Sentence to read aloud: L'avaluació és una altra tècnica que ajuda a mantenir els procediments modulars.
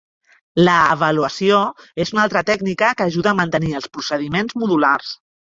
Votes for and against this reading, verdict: 2, 3, rejected